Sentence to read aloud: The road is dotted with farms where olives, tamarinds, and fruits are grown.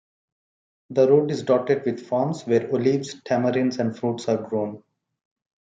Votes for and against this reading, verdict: 2, 0, accepted